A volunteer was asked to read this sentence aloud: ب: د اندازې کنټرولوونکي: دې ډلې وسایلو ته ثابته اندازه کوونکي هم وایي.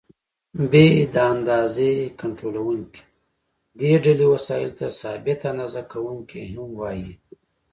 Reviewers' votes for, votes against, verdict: 2, 1, accepted